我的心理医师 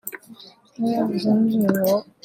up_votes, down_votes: 0, 2